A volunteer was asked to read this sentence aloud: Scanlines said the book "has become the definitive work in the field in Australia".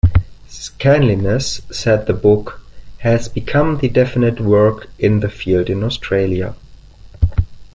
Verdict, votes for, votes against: rejected, 1, 2